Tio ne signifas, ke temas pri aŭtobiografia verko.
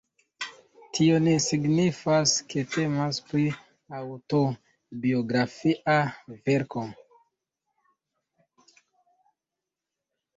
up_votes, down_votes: 2, 0